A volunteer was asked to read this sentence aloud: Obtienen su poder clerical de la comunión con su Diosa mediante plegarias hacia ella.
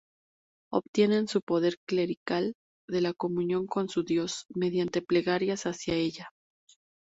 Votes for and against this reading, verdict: 2, 0, accepted